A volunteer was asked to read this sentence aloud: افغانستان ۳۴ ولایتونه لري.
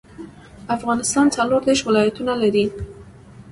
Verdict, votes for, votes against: rejected, 0, 2